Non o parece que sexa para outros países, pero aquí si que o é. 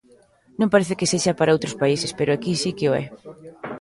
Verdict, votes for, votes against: rejected, 0, 3